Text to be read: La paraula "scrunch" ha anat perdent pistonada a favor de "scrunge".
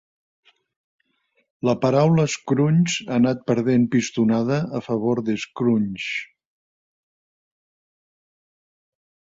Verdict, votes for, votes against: accepted, 2, 0